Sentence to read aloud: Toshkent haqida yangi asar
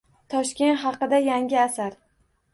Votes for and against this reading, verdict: 2, 0, accepted